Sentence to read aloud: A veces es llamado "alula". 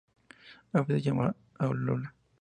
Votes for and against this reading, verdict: 2, 0, accepted